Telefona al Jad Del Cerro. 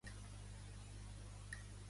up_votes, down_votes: 1, 2